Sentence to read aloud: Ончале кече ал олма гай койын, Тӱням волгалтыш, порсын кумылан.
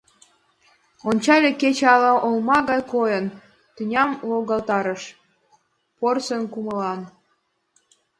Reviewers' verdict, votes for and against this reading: rejected, 1, 2